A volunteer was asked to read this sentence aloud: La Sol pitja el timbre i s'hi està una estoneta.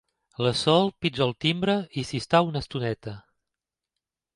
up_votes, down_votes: 2, 0